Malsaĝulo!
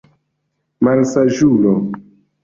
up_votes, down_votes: 2, 1